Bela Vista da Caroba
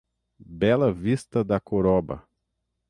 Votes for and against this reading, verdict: 3, 6, rejected